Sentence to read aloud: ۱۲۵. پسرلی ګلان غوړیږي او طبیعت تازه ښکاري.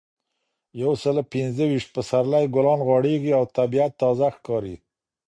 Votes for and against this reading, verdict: 0, 2, rejected